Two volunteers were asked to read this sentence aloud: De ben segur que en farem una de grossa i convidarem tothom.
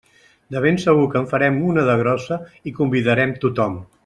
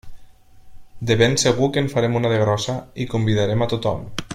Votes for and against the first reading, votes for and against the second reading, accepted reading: 3, 0, 1, 2, first